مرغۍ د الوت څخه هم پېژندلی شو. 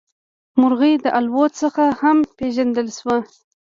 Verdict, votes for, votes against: accepted, 2, 0